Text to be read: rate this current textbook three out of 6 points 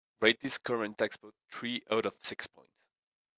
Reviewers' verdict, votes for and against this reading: rejected, 0, 2